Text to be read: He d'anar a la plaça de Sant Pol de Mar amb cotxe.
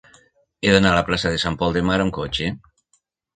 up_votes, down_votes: 6, 0